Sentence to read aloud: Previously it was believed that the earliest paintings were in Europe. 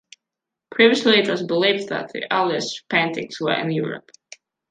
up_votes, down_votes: 2, 0